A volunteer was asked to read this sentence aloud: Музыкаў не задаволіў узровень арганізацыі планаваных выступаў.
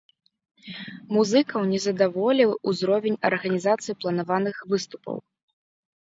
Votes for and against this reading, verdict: 2, 0, accepted